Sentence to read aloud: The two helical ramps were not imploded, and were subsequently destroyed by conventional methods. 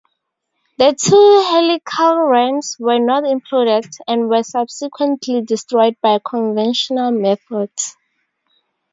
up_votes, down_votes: 2, 4